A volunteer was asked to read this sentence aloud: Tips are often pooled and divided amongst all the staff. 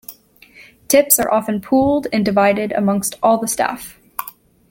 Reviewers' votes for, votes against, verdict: 1, 2, rejected